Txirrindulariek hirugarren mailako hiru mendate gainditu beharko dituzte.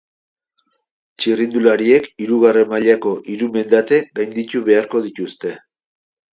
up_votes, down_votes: 2, 0